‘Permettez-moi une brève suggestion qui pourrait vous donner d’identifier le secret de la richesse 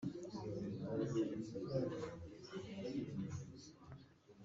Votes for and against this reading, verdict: 0, 2, rejected